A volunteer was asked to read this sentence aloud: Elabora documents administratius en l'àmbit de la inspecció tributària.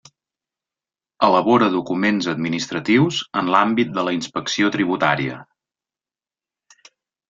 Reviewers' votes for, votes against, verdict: 3, 0, accepted